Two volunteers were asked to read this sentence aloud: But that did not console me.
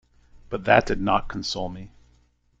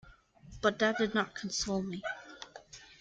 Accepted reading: first